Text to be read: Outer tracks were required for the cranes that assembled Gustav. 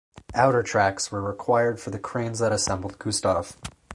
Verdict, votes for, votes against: accepted, 4, 0